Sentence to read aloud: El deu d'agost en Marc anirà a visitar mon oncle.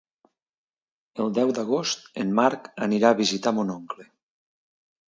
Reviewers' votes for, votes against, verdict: 2, 0, accepted